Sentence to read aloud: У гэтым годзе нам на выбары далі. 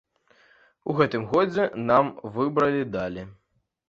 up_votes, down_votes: 1, 2